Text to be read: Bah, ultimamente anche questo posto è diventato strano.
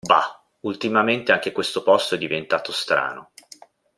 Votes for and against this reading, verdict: 2, 0, accepted